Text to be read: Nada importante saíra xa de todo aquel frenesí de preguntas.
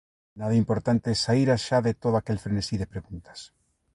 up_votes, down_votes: 2, 0